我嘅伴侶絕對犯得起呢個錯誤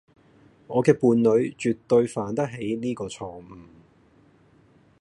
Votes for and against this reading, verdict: 1, 2, rejected